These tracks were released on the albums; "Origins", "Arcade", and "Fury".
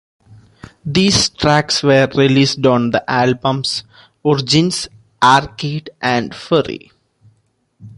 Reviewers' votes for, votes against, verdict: 0, 2, rejected